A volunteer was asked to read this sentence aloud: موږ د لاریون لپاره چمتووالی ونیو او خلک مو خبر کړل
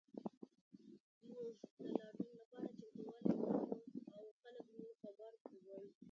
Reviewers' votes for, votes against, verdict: 0, 2, rejected